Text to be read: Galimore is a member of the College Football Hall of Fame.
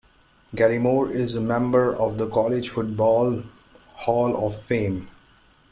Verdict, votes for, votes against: accepted, 2, 0